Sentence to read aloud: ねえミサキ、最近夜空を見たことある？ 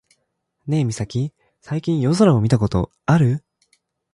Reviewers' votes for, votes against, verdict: 2, 0, accepted